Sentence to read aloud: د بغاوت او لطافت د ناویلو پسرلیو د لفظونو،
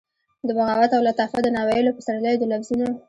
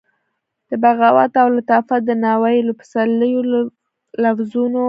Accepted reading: first